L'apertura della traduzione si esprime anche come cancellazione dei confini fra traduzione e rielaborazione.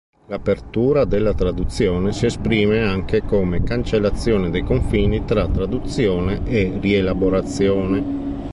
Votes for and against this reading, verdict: 1, 2, rejected